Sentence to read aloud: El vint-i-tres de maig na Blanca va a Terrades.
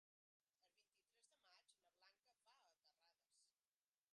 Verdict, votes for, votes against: rejected, 0, 3